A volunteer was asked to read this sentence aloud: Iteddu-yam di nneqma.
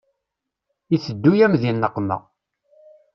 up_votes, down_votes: 2, 0